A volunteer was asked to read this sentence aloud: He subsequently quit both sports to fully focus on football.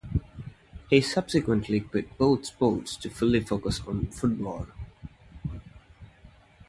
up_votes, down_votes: 0, 2